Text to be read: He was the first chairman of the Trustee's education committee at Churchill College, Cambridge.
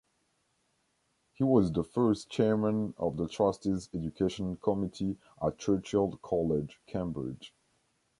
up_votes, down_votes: 2, 0